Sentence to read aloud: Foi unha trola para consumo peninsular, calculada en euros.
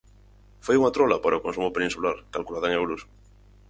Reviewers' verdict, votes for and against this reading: rejected, 2, 2